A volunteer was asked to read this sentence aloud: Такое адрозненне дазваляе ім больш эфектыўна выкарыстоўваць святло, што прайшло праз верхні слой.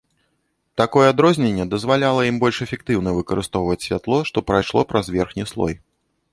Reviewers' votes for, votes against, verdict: 1, 2, rejected